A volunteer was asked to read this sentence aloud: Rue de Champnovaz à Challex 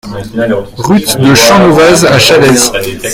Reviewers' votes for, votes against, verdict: 1, 2, rejected